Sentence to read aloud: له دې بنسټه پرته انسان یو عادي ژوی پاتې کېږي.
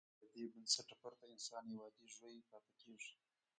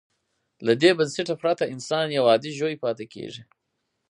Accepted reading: second